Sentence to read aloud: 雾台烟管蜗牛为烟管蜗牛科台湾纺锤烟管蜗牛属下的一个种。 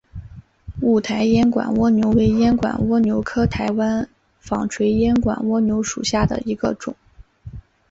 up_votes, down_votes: 2, 0